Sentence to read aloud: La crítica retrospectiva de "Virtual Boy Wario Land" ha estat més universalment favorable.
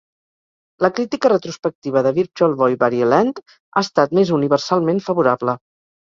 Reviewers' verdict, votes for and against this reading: accepted, 6, 0